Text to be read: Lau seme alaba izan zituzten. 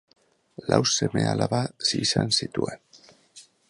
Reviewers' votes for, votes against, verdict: 1, 2, rejected